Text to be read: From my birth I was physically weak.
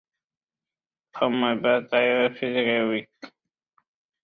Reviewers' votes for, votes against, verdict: 0, 2, rejected